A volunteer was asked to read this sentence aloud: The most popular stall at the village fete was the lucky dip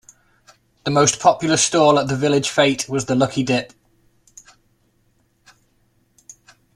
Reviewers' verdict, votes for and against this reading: accepted, 2, 1